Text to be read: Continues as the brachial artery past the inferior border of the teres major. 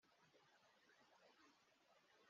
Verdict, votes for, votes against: rejected, 1, 2